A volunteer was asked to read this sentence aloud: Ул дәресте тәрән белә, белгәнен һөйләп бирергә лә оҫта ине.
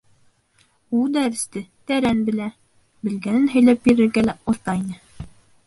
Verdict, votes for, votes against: rejected, 0, 2